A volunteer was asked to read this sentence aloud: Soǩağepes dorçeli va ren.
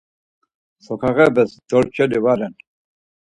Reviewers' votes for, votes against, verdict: 4, 0, accepted